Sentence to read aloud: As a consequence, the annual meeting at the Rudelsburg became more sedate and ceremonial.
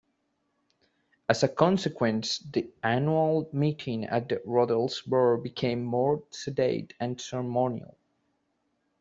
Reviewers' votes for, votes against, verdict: 3, 0, accepted